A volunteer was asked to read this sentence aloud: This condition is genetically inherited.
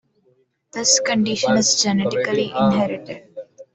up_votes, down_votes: 2, 0